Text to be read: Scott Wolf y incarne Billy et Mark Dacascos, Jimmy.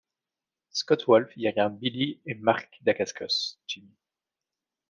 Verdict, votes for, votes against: rejected, 1, 2